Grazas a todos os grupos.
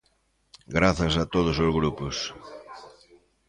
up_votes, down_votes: 2, 0